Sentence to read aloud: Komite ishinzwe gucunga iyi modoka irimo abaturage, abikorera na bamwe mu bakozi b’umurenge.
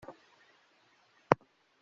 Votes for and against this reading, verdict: 0, 2, rejected